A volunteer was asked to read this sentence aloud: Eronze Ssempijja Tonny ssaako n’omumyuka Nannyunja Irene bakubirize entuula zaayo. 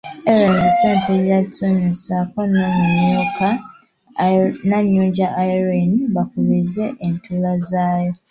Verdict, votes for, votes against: rejected, 0, 3